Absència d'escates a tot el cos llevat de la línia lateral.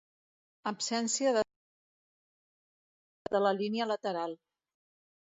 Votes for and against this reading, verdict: 0, 2, rejected